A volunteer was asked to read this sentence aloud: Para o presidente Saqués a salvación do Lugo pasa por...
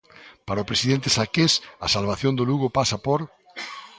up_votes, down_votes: 2, 0